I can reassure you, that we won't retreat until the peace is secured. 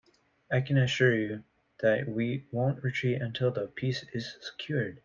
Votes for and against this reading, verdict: 1, 2, rejected